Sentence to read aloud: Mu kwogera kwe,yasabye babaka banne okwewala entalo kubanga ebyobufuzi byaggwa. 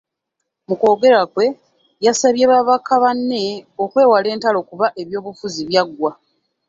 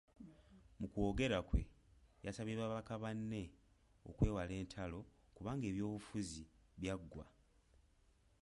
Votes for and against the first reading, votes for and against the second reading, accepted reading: 1, 2, 2, 1, second